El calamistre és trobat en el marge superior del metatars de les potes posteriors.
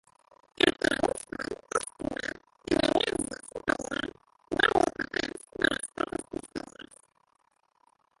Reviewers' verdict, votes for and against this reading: rejected, 0, 5